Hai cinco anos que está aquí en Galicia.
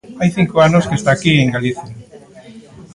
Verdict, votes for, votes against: rejected, 1, 2